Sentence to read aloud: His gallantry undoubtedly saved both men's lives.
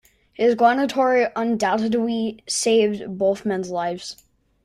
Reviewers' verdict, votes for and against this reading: rejected, 0, 3